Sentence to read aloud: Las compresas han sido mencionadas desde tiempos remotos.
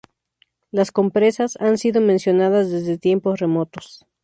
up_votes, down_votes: 2, 0